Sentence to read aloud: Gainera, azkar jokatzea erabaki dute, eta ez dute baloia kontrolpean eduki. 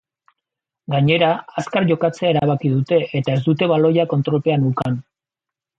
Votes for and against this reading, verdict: 0, 3, rejected